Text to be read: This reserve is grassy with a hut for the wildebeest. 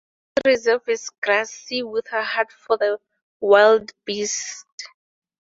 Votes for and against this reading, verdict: 2, 4, rejected